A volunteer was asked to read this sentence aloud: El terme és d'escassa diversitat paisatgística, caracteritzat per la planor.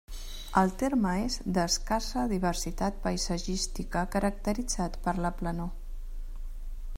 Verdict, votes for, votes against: rejected, 1, 2